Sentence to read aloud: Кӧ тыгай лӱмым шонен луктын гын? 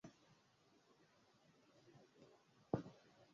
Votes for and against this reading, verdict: 1, 2, rejected